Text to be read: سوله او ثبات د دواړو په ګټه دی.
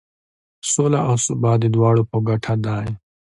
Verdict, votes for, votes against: accepted, 2, 0